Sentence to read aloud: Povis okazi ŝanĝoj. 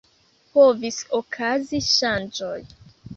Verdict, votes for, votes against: accepted, 2, 0